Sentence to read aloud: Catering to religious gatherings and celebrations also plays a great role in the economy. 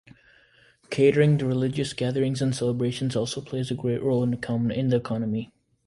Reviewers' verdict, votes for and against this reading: rejected, 1, 2